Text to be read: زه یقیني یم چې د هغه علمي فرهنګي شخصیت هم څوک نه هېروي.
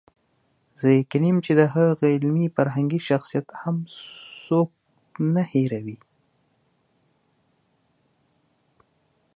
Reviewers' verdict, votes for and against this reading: accepted, 2, 1